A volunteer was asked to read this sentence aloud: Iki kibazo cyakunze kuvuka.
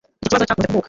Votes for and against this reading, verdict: 1, 2, rejected